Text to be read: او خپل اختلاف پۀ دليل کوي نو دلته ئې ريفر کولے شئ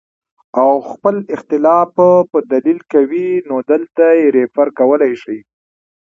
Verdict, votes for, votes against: accepted, 2, 1